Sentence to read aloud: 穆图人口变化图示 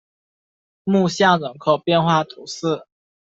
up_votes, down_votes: 0, 2